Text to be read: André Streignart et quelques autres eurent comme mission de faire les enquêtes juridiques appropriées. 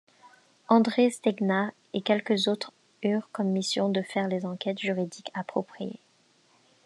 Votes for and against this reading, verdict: 2, 1, accepted